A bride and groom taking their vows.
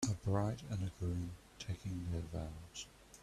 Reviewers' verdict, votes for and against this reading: accepted, 2, 0